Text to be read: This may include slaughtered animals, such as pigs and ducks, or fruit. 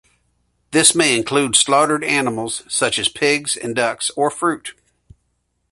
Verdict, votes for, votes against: accepted, 2, 1